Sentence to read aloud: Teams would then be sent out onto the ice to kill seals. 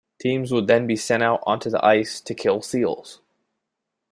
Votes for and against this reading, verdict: 0, 2, rejected